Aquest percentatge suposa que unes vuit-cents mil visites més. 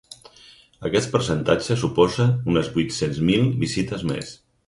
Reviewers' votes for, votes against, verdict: 2, 4, rejected